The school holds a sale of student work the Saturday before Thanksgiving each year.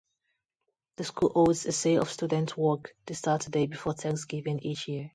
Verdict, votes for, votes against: rejected, 0, 2